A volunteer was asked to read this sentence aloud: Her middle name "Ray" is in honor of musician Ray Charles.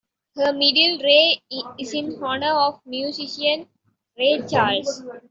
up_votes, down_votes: 1, 2